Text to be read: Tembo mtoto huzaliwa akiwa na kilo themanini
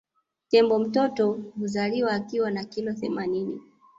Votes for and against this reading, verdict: 2, 0, accepted